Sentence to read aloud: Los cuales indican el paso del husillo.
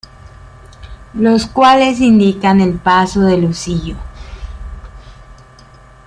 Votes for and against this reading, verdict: 2, 1, accepted